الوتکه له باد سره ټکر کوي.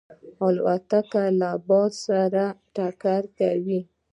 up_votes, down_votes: 1, 2